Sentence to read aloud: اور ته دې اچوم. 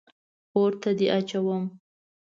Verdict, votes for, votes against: accepted, 2, 0